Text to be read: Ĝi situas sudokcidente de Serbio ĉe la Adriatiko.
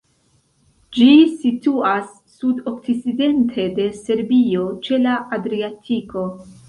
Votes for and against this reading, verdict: 1, 2, rejected